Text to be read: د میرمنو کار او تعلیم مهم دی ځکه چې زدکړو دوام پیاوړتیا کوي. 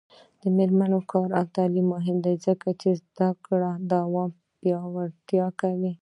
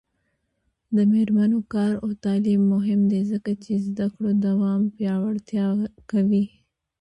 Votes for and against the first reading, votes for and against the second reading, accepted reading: 1, 2, 3, 0, second